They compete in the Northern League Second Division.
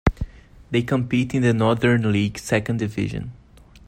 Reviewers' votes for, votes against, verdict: 2, 0, accepted